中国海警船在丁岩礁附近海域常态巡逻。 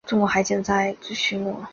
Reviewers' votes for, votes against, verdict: 1, 2, rejected